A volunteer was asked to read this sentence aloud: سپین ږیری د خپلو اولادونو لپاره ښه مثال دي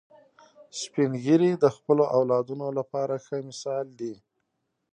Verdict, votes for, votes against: accepted, 2, 0